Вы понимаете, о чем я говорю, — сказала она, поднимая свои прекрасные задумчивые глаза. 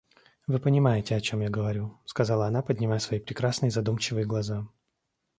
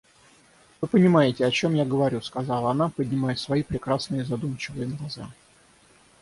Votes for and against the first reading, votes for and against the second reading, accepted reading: 2, 0, 3, 3, first